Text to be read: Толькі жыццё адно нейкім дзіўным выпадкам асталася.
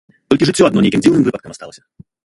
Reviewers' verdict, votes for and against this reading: rejected, 0, 2